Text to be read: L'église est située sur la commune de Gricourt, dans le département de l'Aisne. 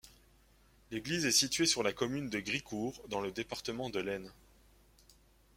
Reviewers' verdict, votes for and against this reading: accepted, 2, 0